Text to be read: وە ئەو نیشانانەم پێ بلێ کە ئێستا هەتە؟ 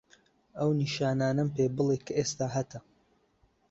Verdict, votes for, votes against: rejected, 0, 2